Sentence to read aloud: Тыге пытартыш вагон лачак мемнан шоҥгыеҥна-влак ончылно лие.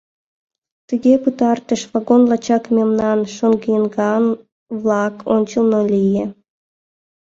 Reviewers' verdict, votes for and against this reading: rejected, 0, 2